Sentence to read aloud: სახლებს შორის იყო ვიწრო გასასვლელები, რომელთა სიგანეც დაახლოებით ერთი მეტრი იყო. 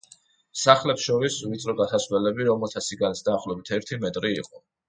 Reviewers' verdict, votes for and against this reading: rejected, 1, 2